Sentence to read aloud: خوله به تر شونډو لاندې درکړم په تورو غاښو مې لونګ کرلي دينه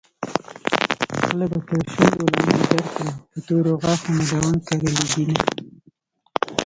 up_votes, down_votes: 1, 2